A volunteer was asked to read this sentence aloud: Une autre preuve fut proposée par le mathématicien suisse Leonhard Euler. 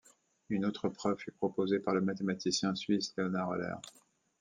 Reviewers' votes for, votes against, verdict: 2, 0, accepted